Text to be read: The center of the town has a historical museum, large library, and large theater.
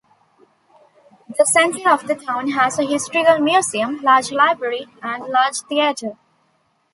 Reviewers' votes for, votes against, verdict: 0, 2, rejected